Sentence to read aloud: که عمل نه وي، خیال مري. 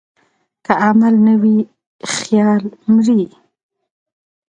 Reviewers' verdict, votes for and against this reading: accepted, 2, 0